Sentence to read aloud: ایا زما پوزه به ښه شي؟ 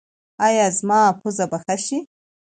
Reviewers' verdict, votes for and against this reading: accepted, 2, 0